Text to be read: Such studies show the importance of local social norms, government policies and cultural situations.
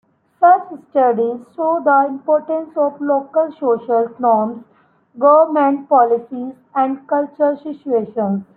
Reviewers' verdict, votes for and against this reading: rejected, 0, 2